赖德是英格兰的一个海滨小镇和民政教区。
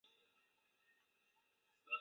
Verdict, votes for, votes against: rejected, 0, 3